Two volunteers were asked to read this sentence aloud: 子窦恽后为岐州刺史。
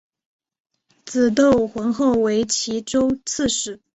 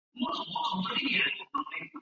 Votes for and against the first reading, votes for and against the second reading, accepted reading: 3, 1, 1, 3, first